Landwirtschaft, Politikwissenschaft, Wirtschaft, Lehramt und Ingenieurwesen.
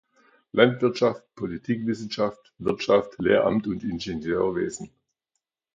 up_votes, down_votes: 2, 1